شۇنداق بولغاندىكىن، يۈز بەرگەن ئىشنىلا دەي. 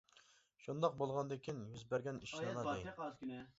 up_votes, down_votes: 0, 2